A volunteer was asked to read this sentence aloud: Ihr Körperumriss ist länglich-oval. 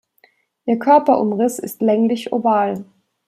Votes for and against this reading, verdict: 2, 0, accepted